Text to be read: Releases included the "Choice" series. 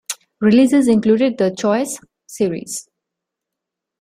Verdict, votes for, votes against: accepted, 2, 0